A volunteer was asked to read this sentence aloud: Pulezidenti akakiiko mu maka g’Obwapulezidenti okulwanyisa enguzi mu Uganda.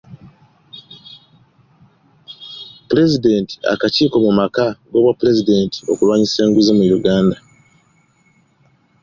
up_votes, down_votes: 2, 1